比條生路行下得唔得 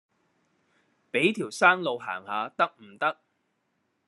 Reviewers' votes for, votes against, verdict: 0, 2, rejected